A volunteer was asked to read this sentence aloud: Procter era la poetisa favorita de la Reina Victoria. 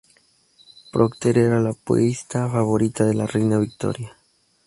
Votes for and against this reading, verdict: 0, 2, rejected